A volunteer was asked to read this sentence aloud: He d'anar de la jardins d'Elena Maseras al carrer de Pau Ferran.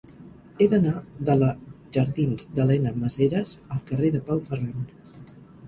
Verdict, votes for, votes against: rejected, 2, 4